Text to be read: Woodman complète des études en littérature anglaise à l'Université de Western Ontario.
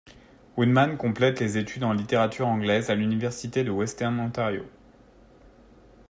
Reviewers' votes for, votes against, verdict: 2, 0, accepted